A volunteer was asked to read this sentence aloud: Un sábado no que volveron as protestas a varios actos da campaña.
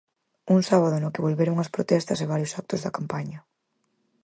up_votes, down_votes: 4, 2